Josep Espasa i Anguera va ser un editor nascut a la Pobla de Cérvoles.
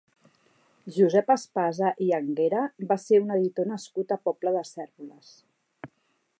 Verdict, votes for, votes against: rejected, 1, 2